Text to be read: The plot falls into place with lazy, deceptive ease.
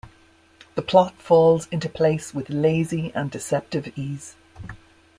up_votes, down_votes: 1, 2